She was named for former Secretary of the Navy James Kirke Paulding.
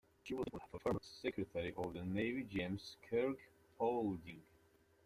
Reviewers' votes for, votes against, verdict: 0, 2, rejected